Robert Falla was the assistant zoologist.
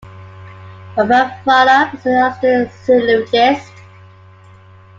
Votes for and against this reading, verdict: 0, 2, rejected